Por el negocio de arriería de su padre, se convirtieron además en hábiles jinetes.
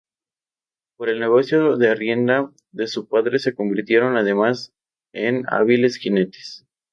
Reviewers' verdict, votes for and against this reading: rejected, 0, 2